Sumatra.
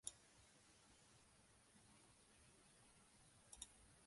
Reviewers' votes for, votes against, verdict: 0, 2, rejected